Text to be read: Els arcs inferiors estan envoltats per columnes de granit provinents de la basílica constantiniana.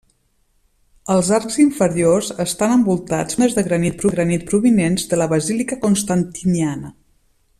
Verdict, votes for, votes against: rejected, 0, 2